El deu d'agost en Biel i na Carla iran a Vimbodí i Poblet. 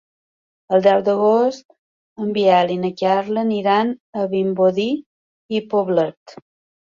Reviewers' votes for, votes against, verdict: 1, 2, rejected